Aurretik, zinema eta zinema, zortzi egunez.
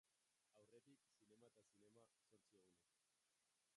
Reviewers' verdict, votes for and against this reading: rejected, 0, 2